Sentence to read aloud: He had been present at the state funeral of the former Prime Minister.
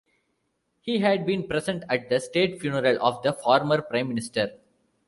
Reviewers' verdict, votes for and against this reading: accepted, 2, 0